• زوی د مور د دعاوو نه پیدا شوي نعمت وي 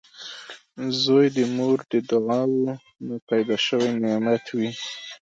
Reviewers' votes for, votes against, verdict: 0, 2, rejected